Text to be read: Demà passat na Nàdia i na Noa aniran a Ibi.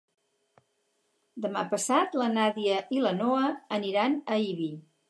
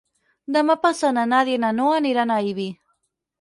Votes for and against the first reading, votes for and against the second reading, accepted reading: 2, 4, 4, 0, second